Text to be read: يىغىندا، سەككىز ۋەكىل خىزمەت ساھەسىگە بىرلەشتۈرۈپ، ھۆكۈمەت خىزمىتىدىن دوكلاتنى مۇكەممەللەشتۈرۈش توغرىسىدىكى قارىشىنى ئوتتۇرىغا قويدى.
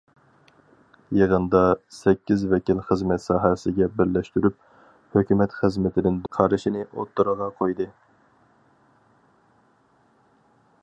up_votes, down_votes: 0, 4